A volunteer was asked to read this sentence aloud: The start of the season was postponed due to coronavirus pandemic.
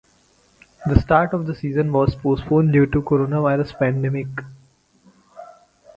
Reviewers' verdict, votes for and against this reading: rejected, 2, 2